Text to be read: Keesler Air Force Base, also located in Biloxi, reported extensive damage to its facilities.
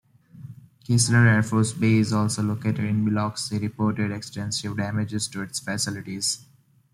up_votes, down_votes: 1, 2